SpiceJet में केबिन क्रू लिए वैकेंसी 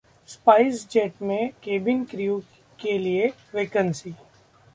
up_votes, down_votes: 0, 2